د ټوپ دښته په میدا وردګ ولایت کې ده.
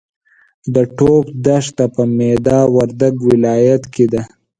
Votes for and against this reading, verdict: 5, 0, accepted